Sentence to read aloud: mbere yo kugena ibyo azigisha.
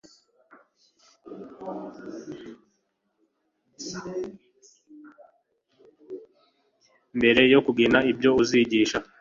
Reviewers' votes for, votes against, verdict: 1, 2, rejected